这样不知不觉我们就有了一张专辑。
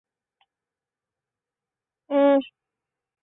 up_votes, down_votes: 0, 3